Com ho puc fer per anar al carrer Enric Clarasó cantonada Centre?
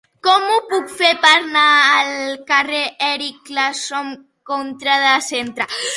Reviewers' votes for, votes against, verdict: 0, 2, rejected